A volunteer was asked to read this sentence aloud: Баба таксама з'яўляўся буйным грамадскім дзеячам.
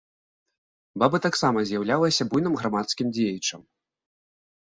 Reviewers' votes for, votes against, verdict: 2, 0, accepted